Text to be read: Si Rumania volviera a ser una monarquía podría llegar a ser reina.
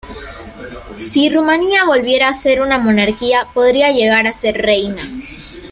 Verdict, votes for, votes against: accepted, 2, 0